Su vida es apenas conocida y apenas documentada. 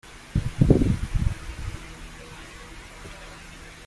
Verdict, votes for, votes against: rejected, 0, 2